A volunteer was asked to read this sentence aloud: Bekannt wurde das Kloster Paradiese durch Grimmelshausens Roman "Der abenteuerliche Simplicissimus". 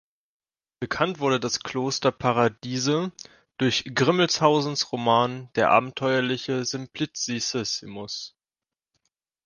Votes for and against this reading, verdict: 1, 2, rejected